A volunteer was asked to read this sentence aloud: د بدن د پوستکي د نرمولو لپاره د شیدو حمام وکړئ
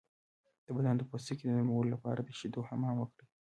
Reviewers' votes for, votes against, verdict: 1, 2, rejected